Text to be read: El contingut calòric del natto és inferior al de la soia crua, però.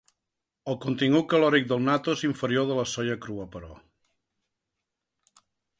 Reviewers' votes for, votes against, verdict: 2, 1, accepted